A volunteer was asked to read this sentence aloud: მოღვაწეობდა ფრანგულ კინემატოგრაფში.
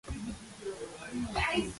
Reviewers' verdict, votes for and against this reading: rejected, 0, 2